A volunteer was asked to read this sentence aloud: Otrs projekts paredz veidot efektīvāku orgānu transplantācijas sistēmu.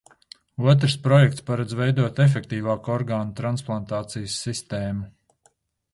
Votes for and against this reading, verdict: 2, 0, accepted